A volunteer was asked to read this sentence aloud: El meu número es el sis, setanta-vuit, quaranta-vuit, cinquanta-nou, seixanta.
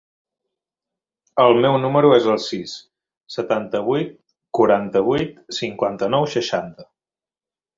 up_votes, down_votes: 2, 0